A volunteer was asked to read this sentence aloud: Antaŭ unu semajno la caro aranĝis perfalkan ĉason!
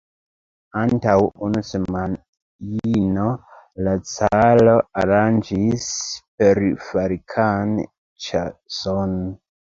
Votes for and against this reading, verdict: 1, 2, rejected